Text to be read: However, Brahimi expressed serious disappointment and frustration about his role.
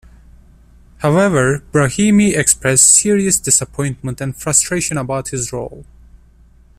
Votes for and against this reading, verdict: 2, 0, accepted